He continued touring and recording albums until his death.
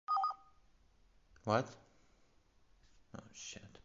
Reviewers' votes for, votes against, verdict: 0, 2, rejected